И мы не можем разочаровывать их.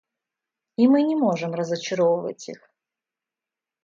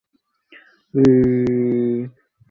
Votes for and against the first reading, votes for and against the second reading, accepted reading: 2, 0, 0, 2, first